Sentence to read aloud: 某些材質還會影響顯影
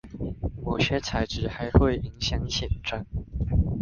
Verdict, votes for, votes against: rejected, 0, 2